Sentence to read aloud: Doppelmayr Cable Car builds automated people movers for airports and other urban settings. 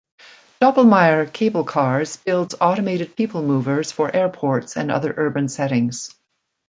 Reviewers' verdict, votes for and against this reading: rejected, 1, 2